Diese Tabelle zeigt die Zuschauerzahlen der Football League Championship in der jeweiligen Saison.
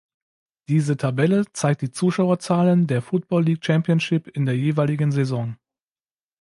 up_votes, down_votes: 3, 0